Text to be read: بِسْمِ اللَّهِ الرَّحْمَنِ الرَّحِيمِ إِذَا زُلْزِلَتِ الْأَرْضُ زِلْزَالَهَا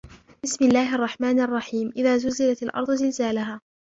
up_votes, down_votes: 1, 2